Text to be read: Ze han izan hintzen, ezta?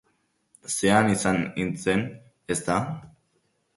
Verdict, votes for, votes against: accepted, 4, 2